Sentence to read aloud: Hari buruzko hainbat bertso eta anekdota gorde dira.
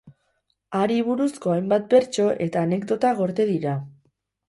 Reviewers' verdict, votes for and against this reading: accepted, 10, 2